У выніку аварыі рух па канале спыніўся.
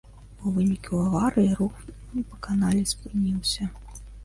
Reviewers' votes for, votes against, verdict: 1, 2, rejected